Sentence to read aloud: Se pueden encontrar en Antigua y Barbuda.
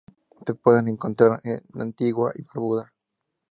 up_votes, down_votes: 2, 0